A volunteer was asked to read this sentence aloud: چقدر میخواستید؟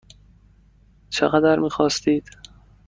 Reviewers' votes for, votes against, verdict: 2, 0, accepted